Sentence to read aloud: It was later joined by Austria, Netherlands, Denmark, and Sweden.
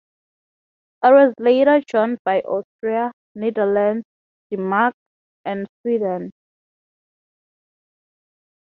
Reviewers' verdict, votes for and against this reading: rejected, 3, 3